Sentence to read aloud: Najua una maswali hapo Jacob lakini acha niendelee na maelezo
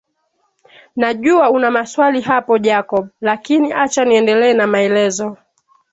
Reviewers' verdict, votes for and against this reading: accepted, 3, 1